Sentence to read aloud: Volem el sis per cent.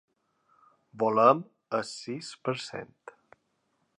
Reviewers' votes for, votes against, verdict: 3, 0, accepted